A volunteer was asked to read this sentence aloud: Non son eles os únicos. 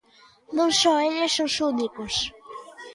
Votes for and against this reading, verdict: 1, 2, rejected